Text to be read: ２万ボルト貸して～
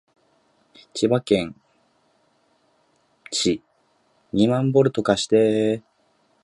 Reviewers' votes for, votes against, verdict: 0, 2, rejected